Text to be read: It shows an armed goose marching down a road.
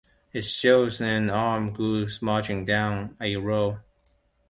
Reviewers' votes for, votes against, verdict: 1, 2, rejected